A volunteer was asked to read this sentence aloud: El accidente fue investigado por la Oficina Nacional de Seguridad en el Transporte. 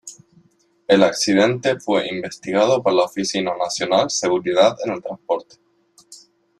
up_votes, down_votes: 1, 3